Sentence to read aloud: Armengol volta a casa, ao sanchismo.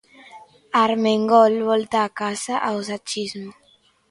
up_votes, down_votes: 1, 2